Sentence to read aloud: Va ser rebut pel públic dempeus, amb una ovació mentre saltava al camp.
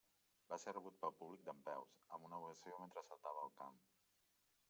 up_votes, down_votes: 1, 2